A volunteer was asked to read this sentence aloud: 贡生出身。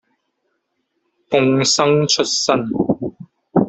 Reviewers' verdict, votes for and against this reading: rejected, 1, 2